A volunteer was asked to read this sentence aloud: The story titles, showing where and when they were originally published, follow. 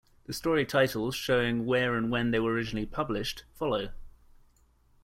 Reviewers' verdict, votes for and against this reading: accepted, 2, 0